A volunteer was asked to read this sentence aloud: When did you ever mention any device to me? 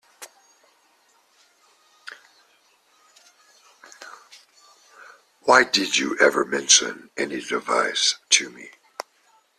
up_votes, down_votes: 0, 2